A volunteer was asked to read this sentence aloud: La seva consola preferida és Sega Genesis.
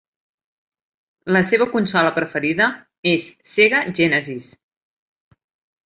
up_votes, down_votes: 4, 0